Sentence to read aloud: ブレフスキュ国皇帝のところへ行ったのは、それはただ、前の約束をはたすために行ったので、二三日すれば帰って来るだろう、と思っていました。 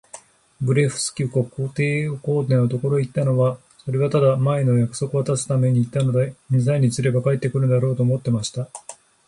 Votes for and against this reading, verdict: 3, 1, accepted